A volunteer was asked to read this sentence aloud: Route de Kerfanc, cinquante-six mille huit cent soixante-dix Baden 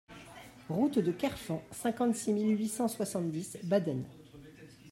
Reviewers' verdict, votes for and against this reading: rejected, 1, 2